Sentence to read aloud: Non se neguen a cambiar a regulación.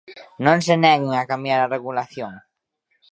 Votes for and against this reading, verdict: 2, 1, accepted